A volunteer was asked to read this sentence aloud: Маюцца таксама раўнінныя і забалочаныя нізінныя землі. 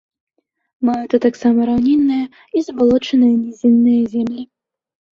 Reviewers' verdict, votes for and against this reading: rejected, 0, 2